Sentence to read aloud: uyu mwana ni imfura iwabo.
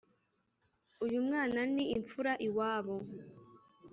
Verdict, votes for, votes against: accepted, 2, 0